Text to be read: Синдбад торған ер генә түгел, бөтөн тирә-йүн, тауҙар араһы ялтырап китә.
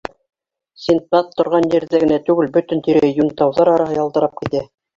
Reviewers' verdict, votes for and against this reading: rejected, 0, 2